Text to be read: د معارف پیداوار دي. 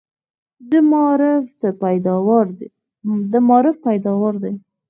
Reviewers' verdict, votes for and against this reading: rejected, 0, 4